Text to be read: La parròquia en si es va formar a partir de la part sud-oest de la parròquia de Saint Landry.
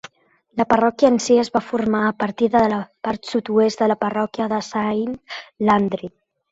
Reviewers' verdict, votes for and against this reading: accepted, 2, 0